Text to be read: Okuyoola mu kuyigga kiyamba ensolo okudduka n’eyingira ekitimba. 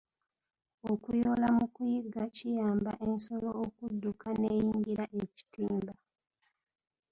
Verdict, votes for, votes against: rejected, 1, 2